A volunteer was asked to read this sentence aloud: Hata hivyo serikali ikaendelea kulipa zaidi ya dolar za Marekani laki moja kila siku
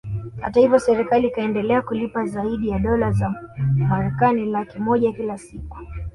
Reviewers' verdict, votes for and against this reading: rejected, 1, 2